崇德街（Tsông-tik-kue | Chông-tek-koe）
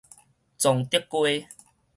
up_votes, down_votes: 4, 0